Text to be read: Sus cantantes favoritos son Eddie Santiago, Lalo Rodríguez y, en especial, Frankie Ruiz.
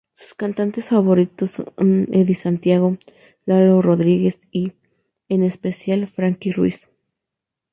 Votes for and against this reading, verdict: 0, 2, rejected